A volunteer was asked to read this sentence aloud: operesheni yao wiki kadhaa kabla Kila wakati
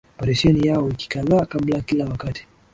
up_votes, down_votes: 0, 2